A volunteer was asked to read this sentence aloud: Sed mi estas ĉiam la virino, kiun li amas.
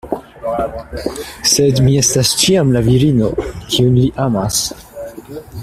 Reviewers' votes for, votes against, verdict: 2, 1, accepted